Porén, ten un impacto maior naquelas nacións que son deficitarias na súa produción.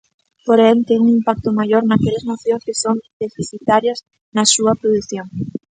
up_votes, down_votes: 0, 2